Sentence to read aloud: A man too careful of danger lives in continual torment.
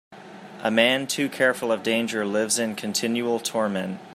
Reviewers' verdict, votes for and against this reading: accepted, 2, 0